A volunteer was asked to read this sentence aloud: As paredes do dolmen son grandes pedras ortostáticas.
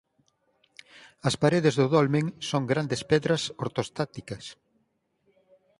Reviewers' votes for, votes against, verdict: 4, 0, accepted